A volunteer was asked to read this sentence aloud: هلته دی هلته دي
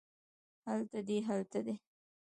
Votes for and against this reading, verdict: 2, 0, accepted